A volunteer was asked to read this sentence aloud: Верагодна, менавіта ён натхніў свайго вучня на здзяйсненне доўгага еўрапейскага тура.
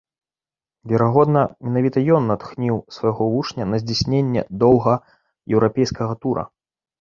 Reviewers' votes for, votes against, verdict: 1, 2, rejected